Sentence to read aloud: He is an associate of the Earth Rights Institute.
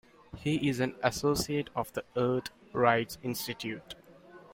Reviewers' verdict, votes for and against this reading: accepted, 2, 0